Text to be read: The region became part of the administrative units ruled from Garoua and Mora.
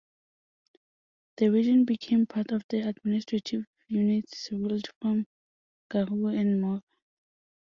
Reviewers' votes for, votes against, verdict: 0, 2, rejected